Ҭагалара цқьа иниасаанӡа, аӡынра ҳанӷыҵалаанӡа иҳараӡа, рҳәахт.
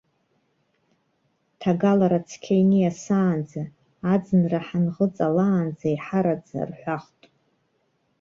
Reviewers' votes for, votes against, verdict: 2, 0, accepted